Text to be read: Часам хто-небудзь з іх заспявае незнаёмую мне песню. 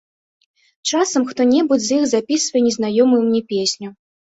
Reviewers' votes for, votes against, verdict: 0, 2, rejected